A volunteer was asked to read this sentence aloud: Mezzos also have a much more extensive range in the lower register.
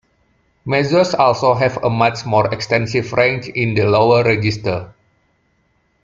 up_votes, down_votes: 2, 0